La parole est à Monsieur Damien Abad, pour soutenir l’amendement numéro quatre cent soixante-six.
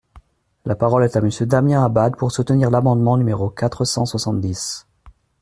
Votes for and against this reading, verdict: 0, 2, rejected